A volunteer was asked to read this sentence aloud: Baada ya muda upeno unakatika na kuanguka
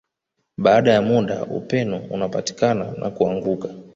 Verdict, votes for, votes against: accepted, 2, 1